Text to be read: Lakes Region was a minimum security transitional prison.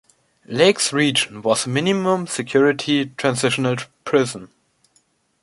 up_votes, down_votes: 1, 2